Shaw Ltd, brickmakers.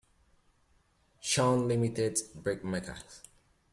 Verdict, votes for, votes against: rejected, 0, 2